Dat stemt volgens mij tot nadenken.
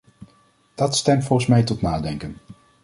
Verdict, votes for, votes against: accepted, 2, 0